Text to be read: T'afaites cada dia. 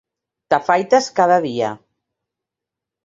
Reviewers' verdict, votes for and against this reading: accepted, 3, 0